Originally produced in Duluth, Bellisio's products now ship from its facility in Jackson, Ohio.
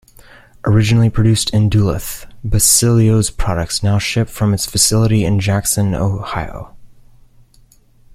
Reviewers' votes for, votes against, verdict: 1, 2, rejected